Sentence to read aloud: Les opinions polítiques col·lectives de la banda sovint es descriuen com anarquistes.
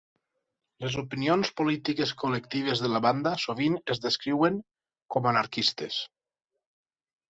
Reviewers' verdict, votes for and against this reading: accepted, 6, 0